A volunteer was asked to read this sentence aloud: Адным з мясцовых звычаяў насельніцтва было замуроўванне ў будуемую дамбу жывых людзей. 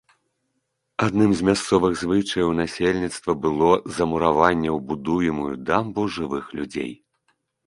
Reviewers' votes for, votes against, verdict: 1, 2, rejected